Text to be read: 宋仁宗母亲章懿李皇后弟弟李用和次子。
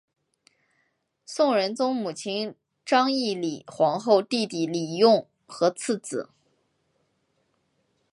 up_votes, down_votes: 4, 0